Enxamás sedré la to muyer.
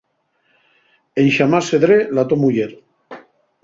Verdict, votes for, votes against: rejected, 2, 2